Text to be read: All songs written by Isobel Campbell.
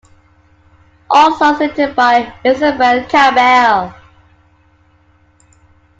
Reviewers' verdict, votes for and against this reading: accepted, 2, 1